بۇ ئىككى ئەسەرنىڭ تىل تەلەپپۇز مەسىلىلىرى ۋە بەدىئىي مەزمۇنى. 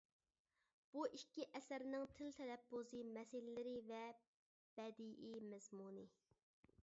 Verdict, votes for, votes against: rejected, 1, 2